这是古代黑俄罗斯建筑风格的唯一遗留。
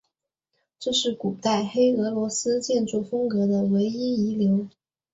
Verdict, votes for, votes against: accepted, 2, 0